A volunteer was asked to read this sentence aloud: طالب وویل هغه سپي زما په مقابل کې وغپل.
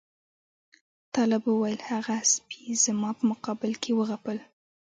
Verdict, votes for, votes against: rejected, 1, 2